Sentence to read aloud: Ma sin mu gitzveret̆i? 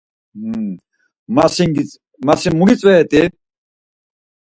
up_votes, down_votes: 2, 4